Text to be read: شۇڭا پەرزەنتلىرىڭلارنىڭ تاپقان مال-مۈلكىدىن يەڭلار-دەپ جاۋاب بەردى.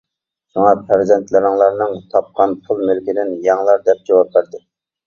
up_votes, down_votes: 0, 2